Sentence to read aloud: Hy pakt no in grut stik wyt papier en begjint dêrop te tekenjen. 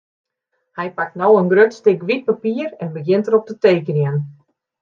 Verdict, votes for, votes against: rejected, 1, 2